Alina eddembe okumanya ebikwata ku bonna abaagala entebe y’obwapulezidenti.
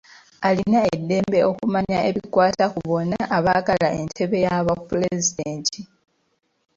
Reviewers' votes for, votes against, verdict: 0, 2, rejected